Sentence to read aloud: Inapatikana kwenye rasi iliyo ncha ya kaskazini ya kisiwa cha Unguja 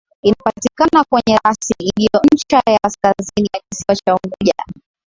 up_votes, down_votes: 3, 1